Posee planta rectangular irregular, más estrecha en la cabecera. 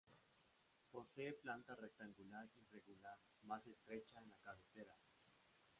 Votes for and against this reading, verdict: 0, 2, rejected